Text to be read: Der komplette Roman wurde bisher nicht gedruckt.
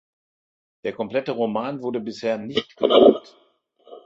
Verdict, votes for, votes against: rejected, 1, 2